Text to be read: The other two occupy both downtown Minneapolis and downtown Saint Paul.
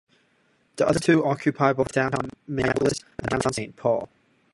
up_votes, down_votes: 1, 2